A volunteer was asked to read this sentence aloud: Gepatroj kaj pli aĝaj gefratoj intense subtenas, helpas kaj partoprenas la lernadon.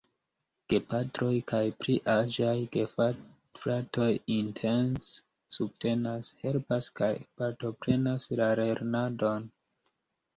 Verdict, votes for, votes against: rejected, 1, 2